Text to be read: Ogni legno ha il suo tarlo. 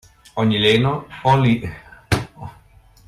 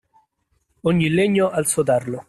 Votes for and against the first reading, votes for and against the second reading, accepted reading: 0, 2, 2, 0, second